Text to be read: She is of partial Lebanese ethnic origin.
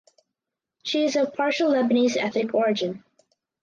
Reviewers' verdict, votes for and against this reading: accepted, 4, 0